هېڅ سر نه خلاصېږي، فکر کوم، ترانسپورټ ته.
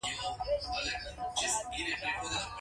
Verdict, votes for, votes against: rejected, 1, 2